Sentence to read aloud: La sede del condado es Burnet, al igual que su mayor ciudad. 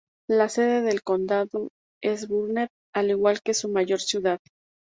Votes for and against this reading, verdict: 2, 0, accepted